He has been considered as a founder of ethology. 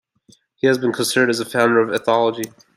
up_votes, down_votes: 2, 0